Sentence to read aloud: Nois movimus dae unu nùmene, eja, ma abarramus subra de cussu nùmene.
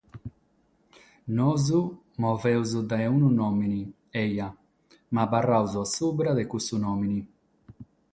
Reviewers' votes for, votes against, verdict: 0, 3, rejected